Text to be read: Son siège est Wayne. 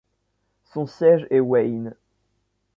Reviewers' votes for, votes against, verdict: 2, 0, accepted